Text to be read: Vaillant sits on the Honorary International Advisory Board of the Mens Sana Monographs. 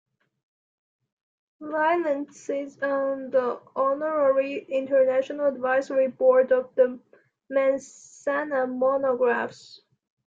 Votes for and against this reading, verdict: 1, 2, rejected